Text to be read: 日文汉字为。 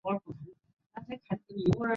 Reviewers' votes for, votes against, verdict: 0, 2, rejected